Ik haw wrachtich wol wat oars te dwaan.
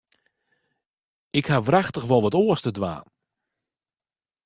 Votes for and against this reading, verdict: 2, 0, accepted